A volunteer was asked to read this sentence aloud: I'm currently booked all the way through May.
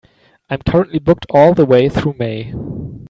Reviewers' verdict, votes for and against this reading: accepted, 2, 1